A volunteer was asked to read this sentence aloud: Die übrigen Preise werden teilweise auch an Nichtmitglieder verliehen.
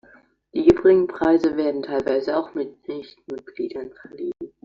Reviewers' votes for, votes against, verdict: 0, 2, rejected